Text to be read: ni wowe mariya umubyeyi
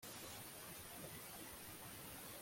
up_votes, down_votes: 1, 3